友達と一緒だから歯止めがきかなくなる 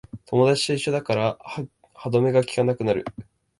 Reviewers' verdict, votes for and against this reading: rejected, 0, 2